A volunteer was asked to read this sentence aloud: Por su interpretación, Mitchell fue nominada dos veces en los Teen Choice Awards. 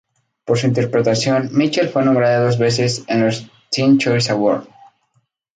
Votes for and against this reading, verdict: 0, 2, rejected